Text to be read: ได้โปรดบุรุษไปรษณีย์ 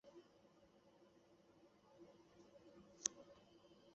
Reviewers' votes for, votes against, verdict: 0, 2, rejected